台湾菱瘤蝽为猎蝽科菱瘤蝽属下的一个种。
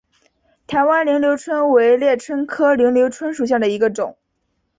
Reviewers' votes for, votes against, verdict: 2, 0, accepted